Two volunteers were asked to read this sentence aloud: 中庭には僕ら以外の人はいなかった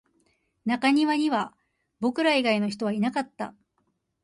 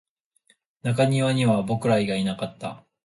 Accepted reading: first